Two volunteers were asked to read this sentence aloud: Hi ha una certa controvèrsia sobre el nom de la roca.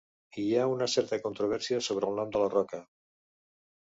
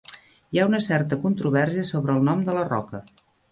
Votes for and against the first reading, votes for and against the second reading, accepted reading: 2, 0, 1, 2, first